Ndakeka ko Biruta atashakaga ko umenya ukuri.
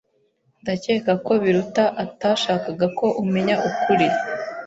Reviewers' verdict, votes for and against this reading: accepted, 2, 0